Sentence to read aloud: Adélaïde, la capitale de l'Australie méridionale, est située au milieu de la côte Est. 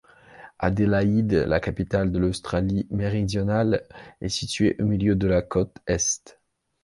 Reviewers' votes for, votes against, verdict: 2, 0, accepted